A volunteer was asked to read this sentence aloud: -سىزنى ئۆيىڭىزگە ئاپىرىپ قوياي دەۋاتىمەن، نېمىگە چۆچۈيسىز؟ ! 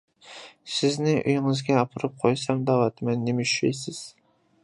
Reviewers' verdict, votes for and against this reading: rejected, 0, 2